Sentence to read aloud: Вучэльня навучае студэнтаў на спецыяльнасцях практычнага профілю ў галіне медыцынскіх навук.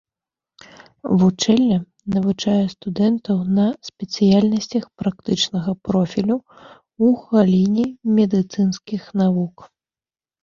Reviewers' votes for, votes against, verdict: 0, 2, rejected